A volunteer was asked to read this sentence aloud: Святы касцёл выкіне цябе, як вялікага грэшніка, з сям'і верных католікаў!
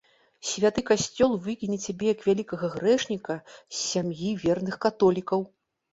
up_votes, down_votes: 2, 0